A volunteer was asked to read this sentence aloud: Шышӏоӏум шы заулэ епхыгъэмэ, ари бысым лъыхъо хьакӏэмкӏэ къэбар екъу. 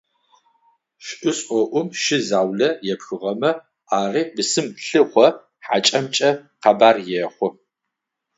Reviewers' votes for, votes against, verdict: 0, 6, rejected